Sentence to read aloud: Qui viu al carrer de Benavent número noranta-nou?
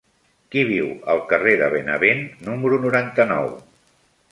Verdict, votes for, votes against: accepted, 3, 1